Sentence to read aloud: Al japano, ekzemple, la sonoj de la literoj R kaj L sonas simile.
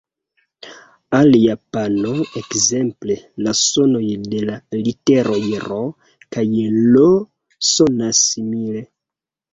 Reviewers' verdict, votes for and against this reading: rejected, 1, 2